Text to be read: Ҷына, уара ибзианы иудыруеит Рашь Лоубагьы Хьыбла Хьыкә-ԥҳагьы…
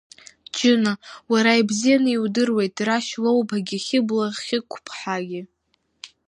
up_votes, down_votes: 1, 2